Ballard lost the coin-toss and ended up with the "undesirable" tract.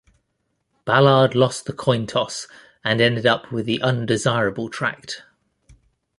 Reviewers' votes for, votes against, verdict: 1, 2, rejected